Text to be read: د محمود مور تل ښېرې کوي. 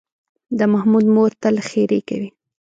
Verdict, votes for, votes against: rejected, 0, 2